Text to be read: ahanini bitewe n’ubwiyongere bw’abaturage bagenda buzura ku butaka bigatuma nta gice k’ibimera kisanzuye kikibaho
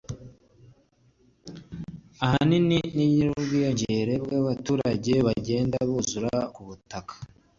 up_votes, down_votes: 0, 2